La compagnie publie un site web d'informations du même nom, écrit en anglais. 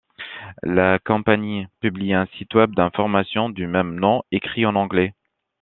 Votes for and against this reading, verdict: 2, 0, accepted